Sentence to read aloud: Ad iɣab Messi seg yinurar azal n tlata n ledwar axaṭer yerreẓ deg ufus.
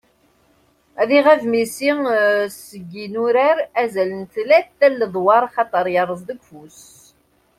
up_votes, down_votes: 0, 2